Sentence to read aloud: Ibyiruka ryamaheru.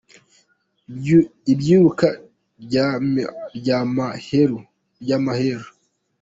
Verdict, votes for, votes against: rejected, 0, 2